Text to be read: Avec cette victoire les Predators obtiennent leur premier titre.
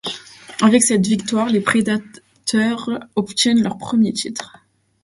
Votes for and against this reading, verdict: 2, 0, accepted